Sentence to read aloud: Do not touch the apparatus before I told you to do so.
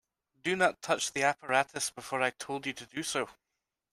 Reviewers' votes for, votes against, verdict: 2, 0, accepted